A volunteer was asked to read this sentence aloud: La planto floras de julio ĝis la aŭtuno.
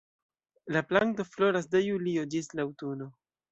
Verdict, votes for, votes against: accepted, 2, 0